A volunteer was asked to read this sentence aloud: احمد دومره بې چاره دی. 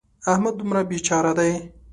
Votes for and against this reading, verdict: 2, 0, accepted